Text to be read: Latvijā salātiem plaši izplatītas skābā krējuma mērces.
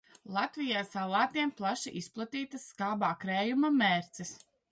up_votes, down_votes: 2, 0